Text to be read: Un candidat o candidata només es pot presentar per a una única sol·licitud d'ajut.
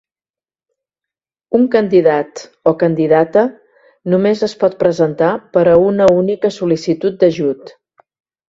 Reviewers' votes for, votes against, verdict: 2, 0, accepted